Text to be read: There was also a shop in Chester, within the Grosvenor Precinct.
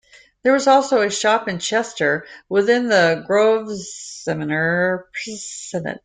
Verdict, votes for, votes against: rejected, 0, 2